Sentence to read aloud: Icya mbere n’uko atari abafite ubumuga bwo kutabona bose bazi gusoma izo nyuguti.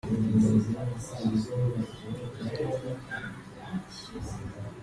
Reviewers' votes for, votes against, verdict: 0, 3, rejected